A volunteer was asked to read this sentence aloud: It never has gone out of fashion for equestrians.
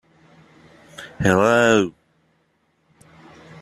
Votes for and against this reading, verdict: 0, 2, rejected